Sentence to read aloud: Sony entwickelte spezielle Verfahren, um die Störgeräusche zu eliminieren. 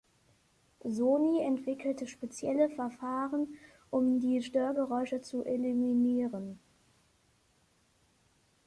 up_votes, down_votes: 3, 1